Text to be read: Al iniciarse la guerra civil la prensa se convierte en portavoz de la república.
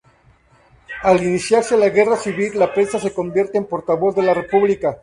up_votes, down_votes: 2, 0